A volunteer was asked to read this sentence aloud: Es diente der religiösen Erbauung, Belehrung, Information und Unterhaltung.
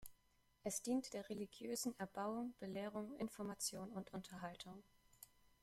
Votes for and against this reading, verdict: 0, 2, rejected